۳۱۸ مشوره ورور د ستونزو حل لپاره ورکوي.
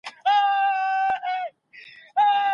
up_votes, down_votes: 0, 2